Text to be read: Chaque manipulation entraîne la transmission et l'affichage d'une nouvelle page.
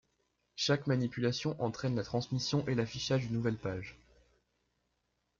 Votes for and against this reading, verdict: 2, 0, accepted